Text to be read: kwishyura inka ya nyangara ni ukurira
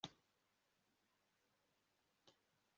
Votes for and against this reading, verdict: 0, 2, rejected